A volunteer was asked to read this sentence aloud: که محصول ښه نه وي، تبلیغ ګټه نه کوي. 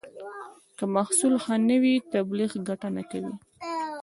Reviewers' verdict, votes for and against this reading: rejected, 1, 2